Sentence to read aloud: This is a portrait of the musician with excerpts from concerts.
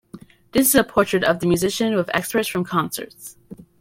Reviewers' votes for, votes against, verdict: 2, 0, accepted